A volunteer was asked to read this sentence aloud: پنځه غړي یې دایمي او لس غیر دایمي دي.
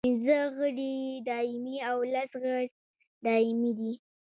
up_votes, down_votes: 1, 2